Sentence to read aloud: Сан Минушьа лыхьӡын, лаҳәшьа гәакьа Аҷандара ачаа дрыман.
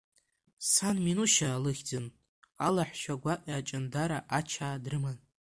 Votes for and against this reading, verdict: 0, 2, rejected